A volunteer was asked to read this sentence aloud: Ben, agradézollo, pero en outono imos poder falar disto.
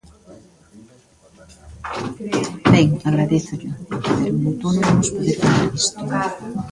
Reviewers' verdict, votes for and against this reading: rejected, 1, 2